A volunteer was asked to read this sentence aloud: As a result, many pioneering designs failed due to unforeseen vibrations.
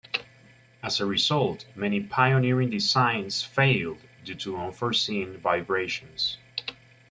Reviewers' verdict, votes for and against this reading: accepted, 2, 0